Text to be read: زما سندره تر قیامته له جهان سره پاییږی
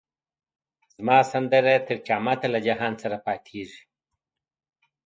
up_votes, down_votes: 2, 0